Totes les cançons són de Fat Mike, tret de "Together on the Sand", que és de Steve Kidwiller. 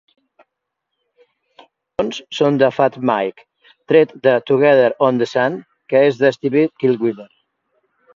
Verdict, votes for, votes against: rejected, 0, 2